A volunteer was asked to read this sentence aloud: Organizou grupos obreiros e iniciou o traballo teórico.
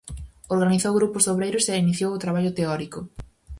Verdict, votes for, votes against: rejected, 2, 4